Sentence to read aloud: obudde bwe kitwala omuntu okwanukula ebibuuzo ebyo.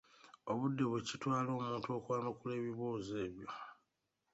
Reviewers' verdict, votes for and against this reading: accepted, 2, 0